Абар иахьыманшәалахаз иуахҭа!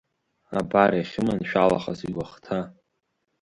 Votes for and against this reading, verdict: 2, 0, accepted